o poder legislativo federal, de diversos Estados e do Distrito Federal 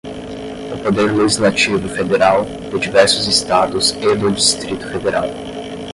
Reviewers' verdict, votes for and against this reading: rejected, 5, 10